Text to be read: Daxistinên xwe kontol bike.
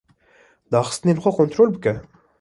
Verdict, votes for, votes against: accepted, 2, 0